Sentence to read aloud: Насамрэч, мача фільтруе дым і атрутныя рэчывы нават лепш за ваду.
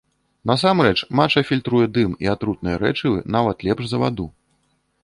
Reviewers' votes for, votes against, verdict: 1, 2, rejected